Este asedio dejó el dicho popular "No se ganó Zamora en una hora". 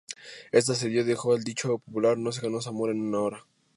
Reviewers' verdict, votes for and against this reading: accepted, 2, 0